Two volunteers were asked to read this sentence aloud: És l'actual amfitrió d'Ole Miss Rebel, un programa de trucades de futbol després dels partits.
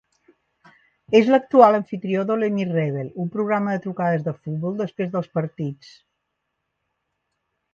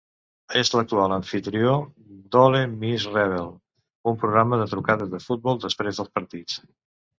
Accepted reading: first